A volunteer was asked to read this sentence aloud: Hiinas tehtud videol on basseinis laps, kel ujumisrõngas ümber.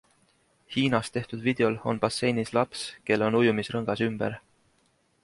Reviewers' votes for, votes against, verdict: 0, 2, rejected